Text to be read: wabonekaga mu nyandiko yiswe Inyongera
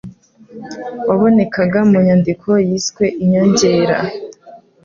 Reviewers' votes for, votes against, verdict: 2, 0, accepted